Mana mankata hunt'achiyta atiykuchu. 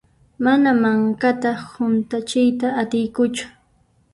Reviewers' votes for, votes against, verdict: 1, 2, rejected